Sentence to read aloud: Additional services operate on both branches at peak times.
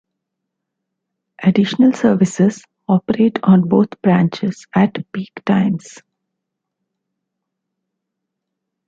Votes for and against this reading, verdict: 2, 1, accepted